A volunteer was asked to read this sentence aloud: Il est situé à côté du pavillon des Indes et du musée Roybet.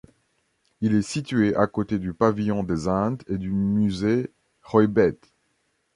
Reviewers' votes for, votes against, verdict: 0, 2, rejected